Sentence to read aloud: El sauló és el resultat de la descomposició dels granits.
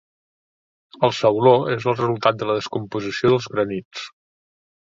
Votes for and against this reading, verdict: 2, 0, accepted